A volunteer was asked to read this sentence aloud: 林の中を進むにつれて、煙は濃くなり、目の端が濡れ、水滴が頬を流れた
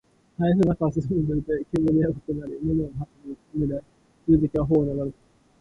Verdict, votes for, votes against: rejected, 0, 2